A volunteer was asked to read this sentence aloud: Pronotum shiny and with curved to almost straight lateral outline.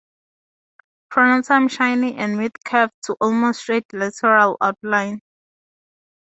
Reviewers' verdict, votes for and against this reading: accepted, 4, 0